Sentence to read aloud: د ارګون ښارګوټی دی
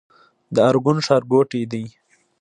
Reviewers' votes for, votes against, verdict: 2, 0, accepted